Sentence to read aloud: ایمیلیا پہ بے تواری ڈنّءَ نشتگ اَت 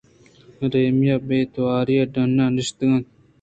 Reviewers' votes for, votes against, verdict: 2, 1, accepted